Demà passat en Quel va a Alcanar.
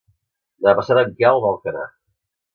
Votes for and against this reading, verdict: 0, 2, rejected